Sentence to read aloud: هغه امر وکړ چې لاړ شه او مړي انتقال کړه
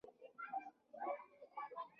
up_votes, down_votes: 0, 2